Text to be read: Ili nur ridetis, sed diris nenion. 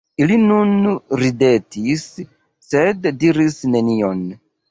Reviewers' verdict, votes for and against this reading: accepted, 2, 0